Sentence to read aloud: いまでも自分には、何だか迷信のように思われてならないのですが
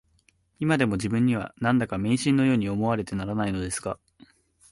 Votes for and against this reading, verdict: 3, 0, accepted